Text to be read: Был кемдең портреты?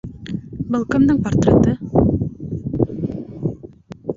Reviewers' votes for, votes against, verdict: 2, 0, accepted